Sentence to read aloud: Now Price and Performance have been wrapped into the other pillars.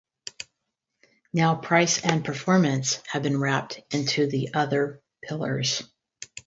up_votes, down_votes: 4, 0